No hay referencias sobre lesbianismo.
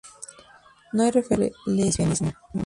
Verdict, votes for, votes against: rejected, 0, 2